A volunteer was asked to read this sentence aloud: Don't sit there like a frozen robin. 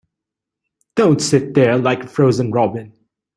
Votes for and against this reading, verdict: 2, 1, accepted